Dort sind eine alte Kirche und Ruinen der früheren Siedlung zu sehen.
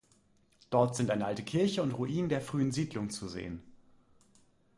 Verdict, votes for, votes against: rejected, 1, 2